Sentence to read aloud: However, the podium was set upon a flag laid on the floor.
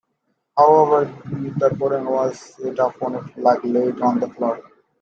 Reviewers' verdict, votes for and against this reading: rejected, 0, 2